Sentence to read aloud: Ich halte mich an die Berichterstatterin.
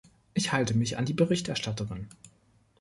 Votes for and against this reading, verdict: 2, 0, accepted